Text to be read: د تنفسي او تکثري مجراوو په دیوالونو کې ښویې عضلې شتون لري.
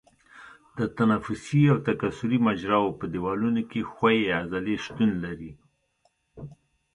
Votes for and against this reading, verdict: 2, 0, accepted